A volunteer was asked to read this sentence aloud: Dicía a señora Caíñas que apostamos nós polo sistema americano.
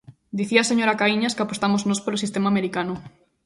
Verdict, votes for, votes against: accepted, 3, 0